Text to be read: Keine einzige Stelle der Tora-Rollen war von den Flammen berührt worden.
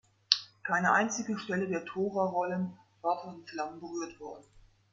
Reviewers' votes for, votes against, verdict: 2, 3, rejected